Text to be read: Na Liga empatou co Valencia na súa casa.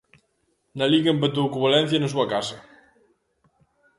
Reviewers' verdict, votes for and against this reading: accepted, 2, 0